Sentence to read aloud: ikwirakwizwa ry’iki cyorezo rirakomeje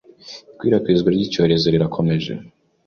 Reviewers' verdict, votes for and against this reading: rejected, 0, 2